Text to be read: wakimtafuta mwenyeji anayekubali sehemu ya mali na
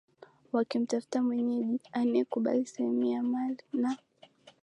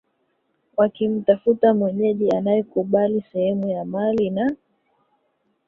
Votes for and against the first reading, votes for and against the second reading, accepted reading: 2, 0, 1, 2, first